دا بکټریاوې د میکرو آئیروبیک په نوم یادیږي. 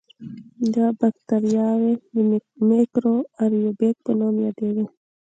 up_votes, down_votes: 2, 0